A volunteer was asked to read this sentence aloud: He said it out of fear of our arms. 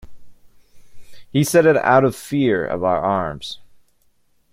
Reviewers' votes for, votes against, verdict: 2, 0, accepted